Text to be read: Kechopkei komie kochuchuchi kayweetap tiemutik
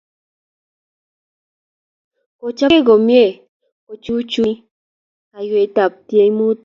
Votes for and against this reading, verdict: 3, 0, accepted